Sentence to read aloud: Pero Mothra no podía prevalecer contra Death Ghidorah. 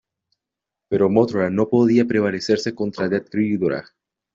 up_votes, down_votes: 1, 2